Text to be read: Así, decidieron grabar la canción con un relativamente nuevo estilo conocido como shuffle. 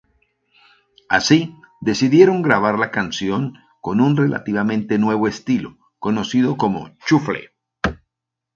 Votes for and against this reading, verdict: 0, 2, rejected